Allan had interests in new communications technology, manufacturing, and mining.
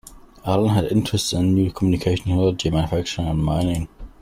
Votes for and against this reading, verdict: 0, 2, rejected